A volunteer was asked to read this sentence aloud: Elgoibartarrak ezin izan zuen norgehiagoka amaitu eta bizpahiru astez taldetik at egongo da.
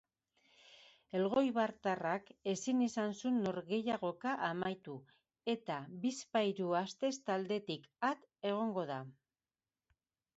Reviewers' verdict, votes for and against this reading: rejected, 0, 2